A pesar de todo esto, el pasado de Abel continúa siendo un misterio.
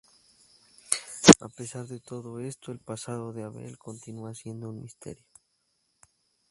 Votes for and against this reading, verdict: 0, 6, rejected